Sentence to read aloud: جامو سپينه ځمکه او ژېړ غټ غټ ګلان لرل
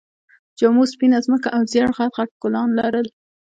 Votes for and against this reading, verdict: 1, 2, rejected